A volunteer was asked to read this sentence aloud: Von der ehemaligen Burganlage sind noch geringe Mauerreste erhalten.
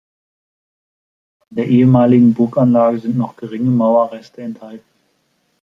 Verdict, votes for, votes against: rejected, 0, 2